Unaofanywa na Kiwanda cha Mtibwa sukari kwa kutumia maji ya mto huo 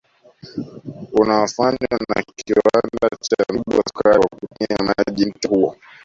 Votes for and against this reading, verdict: 0, 2, rejected